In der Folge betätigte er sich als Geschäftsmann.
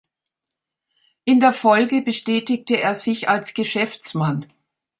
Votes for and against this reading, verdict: 1, 3, rejected